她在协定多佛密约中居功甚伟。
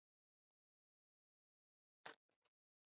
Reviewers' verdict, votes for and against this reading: rejected, 0, 2